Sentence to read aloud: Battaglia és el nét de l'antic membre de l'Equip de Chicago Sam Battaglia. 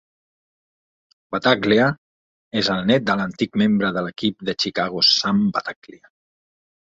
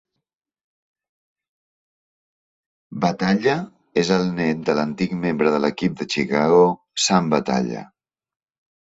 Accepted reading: first